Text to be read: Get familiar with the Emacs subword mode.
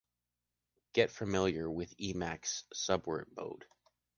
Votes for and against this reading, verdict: 2, 1, accepted